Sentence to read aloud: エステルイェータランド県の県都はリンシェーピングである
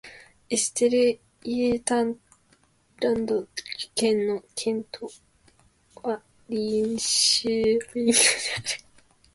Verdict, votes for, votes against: accepted, 2, 1